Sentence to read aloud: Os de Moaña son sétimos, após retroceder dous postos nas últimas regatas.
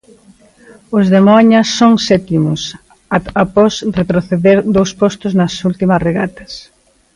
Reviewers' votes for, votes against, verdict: 0, 2, rejected